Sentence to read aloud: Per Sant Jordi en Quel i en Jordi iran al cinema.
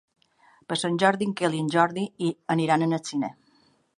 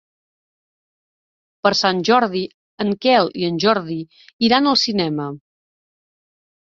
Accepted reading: second